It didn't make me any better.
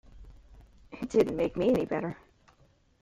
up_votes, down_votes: 2, 0